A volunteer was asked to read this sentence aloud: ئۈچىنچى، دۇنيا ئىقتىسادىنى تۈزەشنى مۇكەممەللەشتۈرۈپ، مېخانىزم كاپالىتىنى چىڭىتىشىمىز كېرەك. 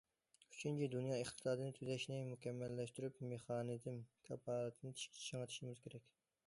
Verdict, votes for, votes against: accepted, 2, 0